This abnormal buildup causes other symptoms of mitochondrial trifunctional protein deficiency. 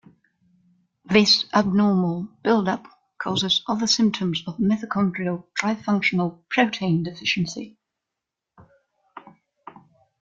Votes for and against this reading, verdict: 3, 0, accepted